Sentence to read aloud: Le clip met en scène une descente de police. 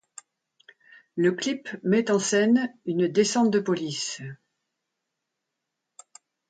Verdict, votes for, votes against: accepted, 2, 0